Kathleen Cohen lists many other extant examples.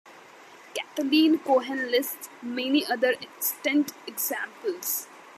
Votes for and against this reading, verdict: 2, 0, accepted